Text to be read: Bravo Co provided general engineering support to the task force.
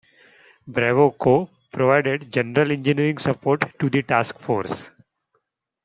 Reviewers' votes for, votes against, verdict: 2, 1, accepted